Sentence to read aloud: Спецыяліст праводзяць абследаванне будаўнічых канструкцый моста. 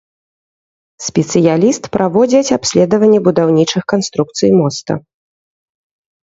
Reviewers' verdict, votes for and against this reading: accepted, 2, 0